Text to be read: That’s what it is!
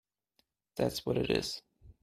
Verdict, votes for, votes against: accepted, 2, 1